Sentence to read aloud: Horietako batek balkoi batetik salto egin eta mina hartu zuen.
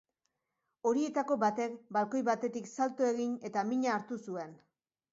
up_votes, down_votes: 3, 0